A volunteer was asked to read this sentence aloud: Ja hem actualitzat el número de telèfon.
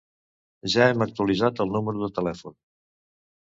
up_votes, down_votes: 2, 0